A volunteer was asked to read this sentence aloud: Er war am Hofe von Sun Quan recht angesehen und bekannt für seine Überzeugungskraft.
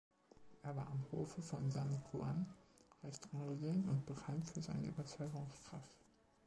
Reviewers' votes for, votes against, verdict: 2, 1, accepted